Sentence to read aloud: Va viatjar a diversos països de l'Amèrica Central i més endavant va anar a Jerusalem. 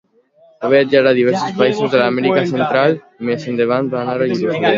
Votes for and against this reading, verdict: 0, 2, rejected